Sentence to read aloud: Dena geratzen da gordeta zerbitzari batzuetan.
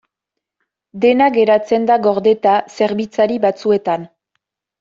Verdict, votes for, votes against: accepted, 2, 0